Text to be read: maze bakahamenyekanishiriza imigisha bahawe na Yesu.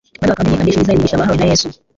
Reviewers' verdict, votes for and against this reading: rejected, 0, 2